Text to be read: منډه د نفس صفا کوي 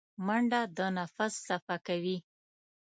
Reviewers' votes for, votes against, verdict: 2, 0, accepted